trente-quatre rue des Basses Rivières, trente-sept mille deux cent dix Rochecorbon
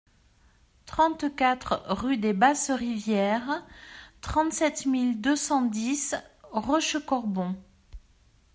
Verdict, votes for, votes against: accepted, 2, 0